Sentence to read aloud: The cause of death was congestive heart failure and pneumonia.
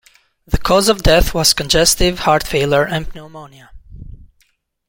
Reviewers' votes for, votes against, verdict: 1, 2, rejected